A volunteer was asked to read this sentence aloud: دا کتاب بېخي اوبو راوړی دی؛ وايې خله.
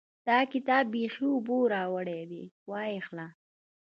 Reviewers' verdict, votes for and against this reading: rejected, 1, 2